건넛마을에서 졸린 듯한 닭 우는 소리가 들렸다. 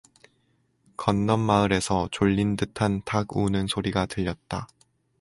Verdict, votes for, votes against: accepted, 4, 0